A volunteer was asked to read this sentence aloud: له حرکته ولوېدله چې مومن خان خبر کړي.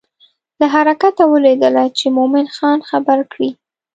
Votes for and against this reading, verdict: 2, 0, accepted